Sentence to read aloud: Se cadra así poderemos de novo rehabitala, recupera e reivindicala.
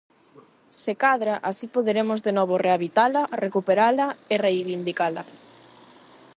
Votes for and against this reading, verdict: 4, 4, rejected